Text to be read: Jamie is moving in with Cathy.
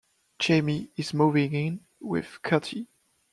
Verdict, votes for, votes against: accepted, 2, 0